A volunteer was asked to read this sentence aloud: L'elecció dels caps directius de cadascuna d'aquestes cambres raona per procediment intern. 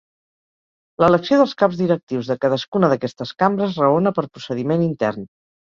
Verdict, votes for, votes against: accepted, 2, 0